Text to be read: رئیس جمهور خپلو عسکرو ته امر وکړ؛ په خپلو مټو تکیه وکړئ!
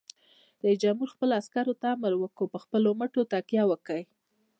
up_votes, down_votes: 2, 1